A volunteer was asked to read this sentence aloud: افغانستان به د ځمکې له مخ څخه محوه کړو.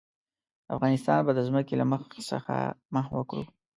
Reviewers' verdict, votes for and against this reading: rejected, 1, 2